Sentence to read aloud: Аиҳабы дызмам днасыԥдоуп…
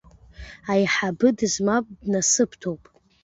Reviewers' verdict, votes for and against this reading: accepted, 2, 1